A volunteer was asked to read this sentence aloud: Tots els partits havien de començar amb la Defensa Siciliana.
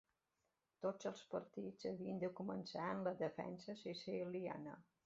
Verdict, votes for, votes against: rejected, 1, 2